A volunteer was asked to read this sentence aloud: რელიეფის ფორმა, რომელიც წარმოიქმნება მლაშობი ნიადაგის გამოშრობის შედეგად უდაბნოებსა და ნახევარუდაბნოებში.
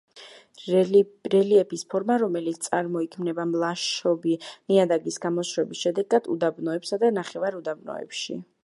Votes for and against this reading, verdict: 1, 2, rejected